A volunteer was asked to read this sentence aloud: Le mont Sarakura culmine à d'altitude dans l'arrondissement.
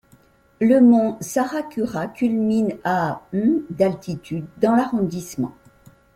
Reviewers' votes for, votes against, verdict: 2, 0, accepted